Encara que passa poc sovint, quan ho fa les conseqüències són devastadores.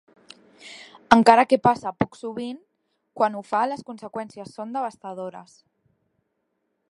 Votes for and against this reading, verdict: 3, 0, accepted